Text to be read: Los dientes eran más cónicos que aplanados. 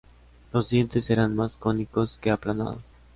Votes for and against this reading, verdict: 2, 0, accepted